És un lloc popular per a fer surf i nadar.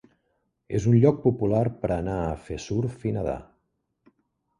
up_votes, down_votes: 0, 3